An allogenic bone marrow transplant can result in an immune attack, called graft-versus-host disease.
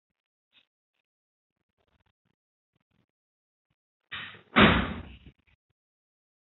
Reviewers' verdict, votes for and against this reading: rejected, 0, 2